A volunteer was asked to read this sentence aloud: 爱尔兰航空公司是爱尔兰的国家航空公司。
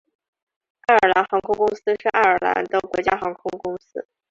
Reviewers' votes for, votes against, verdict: 2, 0, accepted